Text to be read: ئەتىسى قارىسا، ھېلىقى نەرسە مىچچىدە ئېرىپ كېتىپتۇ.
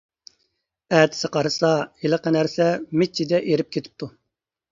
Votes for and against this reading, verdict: 3, 0, accepted